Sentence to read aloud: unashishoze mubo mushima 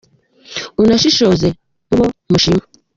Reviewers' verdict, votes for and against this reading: accepted, 2, 1